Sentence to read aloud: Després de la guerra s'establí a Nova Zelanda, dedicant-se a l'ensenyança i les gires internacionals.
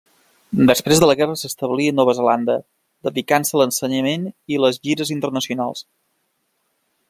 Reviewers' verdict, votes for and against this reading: rejected, 0, 2